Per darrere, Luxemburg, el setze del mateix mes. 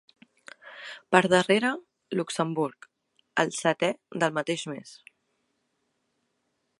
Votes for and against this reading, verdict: 0, 3, rejected